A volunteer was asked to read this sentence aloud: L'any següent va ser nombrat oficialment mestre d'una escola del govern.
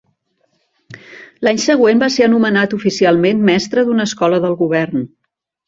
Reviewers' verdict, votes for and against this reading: rejected, 0, 2